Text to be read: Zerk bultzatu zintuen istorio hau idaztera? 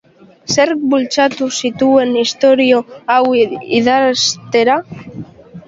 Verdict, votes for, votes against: rejected, 0, 2